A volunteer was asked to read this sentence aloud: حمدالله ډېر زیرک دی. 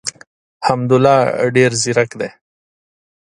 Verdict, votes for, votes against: accepted, 2, 0